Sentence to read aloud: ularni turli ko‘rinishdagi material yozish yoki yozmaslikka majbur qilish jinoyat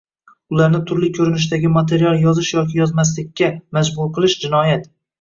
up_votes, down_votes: 1, 2